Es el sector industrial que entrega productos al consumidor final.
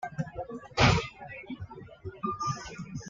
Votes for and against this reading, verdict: 1, 2, rejected